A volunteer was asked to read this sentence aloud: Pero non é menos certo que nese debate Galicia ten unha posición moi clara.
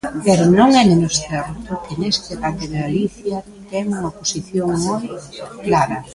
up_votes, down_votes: 0, 2